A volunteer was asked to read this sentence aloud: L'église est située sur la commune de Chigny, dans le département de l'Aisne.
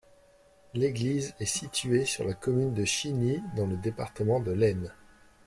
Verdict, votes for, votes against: accepted, 2, 0